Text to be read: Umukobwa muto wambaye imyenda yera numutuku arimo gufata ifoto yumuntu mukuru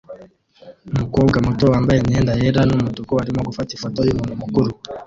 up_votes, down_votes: 0, 2